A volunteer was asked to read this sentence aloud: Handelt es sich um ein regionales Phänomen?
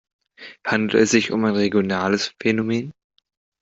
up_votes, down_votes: 1, 2